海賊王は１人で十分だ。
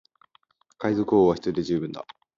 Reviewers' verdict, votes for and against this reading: rejected, 0, 2